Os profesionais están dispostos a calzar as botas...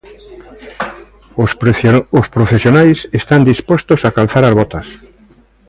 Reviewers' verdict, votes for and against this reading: rejected, 0, 2